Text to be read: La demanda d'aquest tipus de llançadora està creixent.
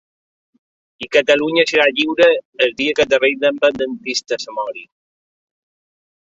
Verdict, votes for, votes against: rejected, 1, 2